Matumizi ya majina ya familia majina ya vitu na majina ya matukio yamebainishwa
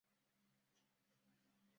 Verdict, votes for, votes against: rejected, 0, 2